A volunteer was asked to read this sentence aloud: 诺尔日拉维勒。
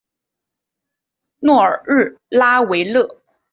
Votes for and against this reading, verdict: 4, 0, accepted